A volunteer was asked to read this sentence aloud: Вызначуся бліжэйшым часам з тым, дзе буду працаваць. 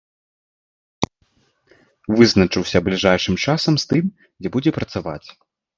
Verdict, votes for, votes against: rejected, 0, 2